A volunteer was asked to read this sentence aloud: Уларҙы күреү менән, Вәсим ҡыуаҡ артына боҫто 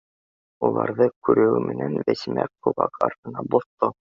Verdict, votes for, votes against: rejected, 0, 2